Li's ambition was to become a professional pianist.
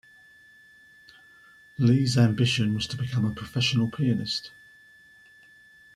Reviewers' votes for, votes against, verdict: 2, 1, accepted